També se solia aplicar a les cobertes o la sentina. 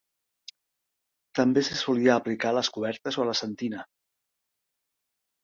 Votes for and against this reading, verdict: 2, 0, accepted